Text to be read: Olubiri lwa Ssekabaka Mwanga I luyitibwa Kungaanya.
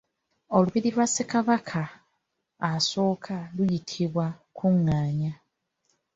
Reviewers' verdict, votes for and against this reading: rejected, 1, 2